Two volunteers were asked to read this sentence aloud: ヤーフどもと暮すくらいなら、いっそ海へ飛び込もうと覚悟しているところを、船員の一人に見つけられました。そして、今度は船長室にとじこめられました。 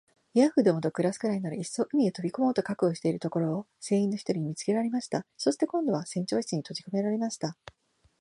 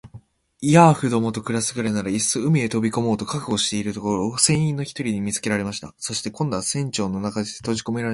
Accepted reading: first